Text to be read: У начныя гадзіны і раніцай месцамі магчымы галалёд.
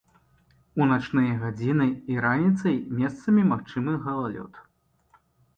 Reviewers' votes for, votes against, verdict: 2, 0, accepted